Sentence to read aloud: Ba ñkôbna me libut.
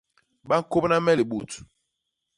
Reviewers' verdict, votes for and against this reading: accepted, 2, 0